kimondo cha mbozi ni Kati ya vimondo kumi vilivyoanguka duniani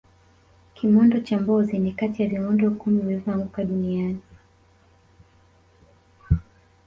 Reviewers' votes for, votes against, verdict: 3, 1, accepted